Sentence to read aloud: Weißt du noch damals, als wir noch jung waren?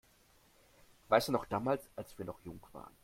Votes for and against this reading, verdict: 2, 1, accepted